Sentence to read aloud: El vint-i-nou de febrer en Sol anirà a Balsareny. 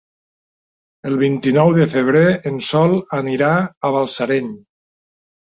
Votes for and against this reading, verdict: 3, 0, accepted